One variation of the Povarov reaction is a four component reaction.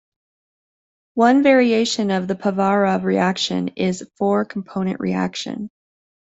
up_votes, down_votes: 2, 0